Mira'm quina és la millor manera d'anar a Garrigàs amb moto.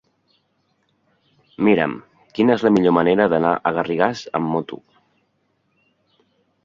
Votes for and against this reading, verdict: 1, 2, rejected